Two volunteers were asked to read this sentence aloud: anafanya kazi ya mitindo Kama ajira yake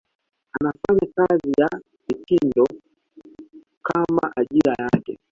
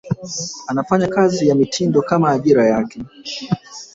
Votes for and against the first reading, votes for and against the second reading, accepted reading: 1, 2, 2, 0, second